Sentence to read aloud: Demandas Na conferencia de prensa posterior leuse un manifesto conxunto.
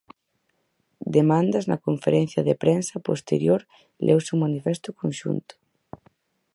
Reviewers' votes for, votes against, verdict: 4, 0, accepted